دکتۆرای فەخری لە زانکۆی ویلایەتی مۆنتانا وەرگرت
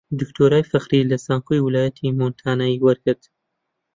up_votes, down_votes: 1, 2